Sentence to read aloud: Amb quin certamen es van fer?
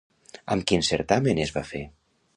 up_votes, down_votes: 0, 2